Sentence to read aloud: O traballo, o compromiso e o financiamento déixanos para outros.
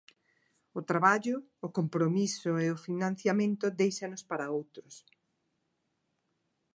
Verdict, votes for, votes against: accepted, 2, 0